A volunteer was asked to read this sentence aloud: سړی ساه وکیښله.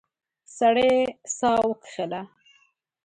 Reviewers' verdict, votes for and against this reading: rejected, 1, 2